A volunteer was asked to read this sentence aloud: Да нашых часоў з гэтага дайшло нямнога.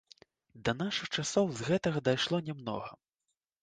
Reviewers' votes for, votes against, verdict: 2, 0, accepted